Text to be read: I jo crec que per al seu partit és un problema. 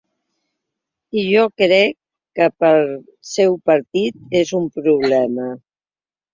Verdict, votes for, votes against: rejected, 1, 2